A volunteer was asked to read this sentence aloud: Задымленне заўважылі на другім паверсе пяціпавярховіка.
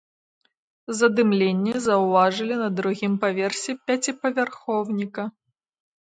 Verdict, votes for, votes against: rejected, 0, 2